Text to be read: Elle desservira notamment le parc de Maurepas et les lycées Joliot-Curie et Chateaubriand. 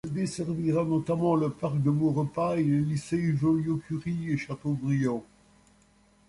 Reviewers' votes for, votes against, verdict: 2, 0, accepted